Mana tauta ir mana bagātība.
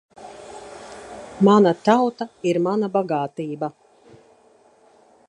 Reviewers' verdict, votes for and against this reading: accepted, 2, 0